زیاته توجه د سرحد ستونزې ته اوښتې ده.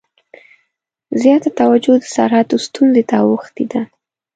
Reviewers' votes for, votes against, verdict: 1, 2, rejected